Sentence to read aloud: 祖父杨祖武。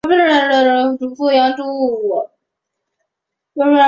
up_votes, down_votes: 0, 3